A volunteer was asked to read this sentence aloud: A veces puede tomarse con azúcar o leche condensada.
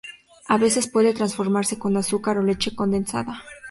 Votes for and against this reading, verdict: 0, 2, rejected